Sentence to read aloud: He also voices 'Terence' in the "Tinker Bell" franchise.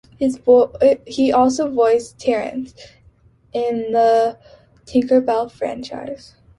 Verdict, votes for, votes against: rejected, 0, 2